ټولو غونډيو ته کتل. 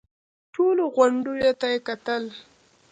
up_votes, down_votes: 2, 0